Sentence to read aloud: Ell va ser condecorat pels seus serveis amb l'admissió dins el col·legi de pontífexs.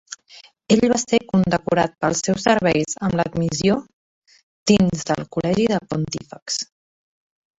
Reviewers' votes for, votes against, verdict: 2, 1, accepted